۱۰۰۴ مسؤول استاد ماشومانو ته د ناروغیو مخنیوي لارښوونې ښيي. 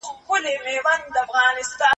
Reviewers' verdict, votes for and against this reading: rejected, 0, 2